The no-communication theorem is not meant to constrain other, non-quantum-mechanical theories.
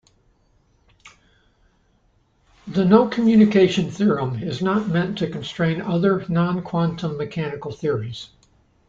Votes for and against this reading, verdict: 2, 0, accepted